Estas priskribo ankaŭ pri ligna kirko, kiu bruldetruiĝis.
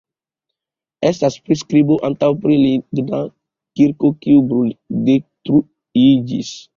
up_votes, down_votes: 2, 0